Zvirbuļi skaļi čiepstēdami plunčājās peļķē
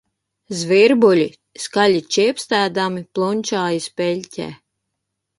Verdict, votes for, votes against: accepted, 3, 1